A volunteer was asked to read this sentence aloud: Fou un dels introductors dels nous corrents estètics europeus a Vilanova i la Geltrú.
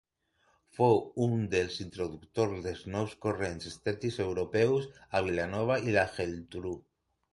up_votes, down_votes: 0, 2